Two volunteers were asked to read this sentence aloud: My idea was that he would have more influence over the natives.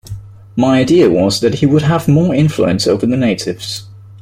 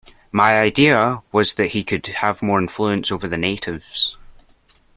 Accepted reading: first